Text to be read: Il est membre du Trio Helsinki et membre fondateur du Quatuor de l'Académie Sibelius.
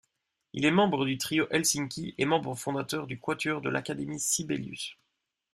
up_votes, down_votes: 2, 0